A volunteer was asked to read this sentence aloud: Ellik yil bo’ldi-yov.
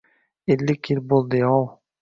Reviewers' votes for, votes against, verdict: 2, 0, accepted